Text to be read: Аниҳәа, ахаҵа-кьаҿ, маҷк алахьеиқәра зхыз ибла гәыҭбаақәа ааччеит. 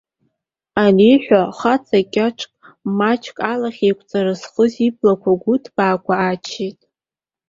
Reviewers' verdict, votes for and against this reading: accepted, 2, 0